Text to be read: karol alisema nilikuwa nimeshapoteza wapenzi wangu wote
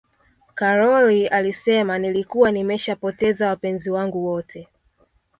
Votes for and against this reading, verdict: 1, 2, rejected